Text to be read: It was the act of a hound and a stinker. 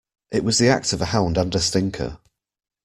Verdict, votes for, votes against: accepted, 2, 0